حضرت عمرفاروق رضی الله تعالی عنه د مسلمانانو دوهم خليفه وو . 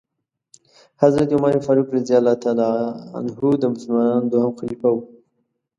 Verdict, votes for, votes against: accepted, 2, 0